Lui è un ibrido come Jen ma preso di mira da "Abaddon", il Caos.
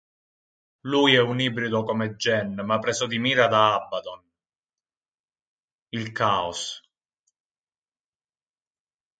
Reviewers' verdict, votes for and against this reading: rejected, 2, 4